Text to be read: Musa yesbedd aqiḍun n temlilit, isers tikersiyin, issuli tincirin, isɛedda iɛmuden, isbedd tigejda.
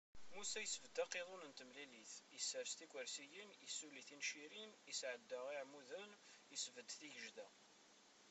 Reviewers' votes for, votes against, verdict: 0, 2, rejected